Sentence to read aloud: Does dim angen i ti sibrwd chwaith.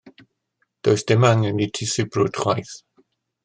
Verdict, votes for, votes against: accepted, 2, 0